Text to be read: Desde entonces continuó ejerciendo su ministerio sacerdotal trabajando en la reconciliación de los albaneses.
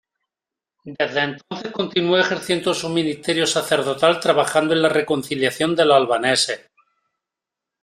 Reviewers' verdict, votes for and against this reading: rejected, 1, 2